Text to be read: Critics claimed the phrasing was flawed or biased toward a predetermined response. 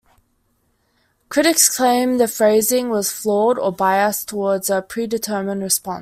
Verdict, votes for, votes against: accepted, 2, 0